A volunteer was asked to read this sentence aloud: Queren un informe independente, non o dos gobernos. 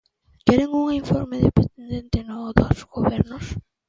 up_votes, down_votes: 0, 2